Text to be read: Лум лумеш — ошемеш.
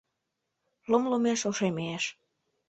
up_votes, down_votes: 2, 0